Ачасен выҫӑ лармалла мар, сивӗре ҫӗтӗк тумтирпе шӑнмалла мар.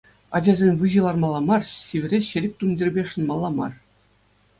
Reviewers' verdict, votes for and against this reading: accepted, 2, 0